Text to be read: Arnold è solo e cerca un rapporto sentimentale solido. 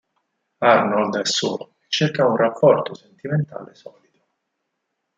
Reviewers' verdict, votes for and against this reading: rejected, 0, 4